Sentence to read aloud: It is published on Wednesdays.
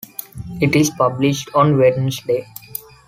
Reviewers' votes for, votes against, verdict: 1, 2, rejected